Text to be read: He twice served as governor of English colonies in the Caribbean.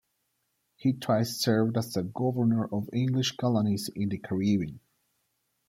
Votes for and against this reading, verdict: 1, 2, rejected